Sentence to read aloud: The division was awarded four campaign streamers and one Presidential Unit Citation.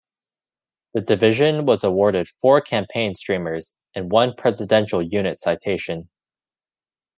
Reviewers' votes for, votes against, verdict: 1, 2, rejected